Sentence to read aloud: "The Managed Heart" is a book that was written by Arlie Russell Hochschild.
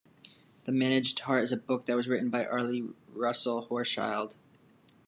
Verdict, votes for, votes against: rejected, 1, 2